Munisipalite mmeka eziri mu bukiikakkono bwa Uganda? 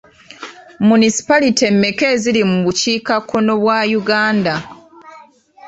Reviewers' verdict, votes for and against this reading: accepted, 2, 0